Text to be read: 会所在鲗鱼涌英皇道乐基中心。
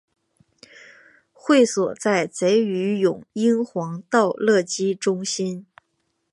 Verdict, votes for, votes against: accepted, 5, 3